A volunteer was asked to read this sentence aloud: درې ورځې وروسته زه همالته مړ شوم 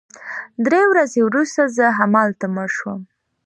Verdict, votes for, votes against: accepted, 2, 1